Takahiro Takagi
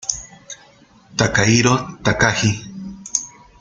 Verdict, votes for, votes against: accepted, 2, 0